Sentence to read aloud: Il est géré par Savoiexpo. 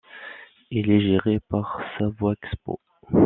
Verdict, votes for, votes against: rejected, 1, 2